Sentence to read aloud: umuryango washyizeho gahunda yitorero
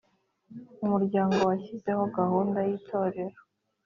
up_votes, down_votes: 2, 0